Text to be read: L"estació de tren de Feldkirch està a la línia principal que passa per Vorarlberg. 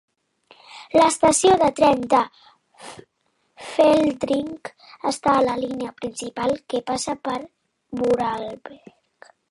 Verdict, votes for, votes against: rejected, 0, 2